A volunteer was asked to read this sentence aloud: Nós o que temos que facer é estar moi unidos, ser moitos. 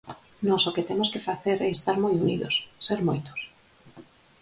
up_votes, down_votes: 4, 0